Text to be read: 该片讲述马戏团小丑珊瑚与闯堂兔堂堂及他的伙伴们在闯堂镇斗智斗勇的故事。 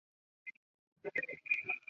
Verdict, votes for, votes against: rejected, 0, 2